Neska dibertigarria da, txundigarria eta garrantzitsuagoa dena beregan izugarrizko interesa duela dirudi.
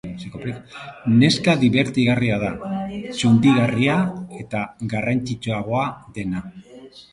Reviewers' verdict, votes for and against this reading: rejected, 0, 2